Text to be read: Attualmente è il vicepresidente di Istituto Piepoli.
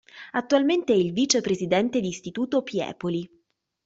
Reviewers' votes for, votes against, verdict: 2, 0, accepted